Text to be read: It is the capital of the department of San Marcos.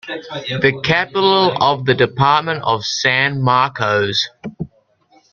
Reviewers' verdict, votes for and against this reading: rejected, 1, 2